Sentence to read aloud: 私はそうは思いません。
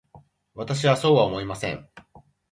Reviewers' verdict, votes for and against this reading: rejected, 1, 2